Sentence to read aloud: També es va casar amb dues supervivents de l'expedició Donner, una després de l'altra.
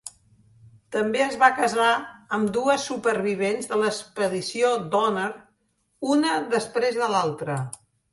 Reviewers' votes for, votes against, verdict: 2, 0, accepted